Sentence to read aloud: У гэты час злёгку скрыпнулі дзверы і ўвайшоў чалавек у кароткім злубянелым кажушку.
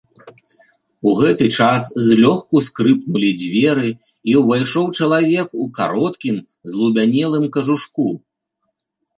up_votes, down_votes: 2, 0